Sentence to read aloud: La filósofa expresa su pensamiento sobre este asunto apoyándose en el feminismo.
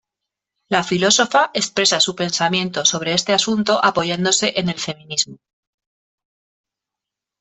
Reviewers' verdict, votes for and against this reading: accepted, 2, 0